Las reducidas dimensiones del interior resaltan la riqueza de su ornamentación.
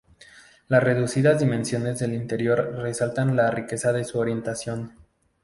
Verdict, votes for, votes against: rejected, 0, 2